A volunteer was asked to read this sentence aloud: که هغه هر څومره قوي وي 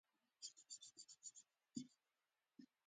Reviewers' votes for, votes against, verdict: 0, 2, rejected